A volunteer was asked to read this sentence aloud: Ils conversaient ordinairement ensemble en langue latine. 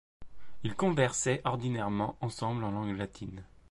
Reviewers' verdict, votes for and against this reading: accepted, 2, 0